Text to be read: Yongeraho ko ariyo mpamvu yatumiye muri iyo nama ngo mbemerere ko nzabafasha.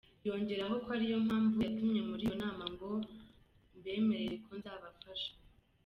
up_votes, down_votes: 2, 0